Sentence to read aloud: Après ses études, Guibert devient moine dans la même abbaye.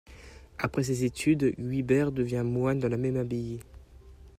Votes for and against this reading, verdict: 2, 0, accepted